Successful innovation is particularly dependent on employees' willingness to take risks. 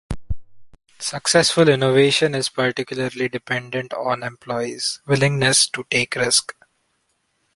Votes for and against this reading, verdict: 1, 2, rejected